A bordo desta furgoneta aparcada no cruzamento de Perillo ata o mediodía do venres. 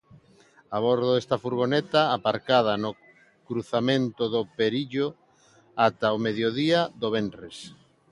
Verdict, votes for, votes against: rejected, 0, 2